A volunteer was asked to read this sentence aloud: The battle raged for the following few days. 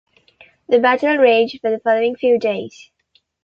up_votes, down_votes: 2, 0